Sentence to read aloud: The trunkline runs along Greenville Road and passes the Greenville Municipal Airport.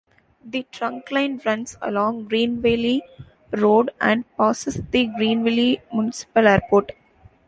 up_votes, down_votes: 2, 1